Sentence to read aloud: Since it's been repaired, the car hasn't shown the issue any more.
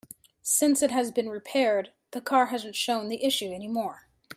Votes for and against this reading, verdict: 1, 2, rejected